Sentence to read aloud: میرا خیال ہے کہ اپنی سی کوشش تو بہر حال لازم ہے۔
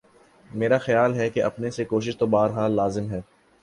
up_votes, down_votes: 2, 0